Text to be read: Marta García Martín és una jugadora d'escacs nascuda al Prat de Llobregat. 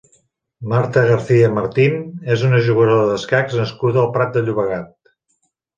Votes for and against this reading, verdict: 2, 1, accepted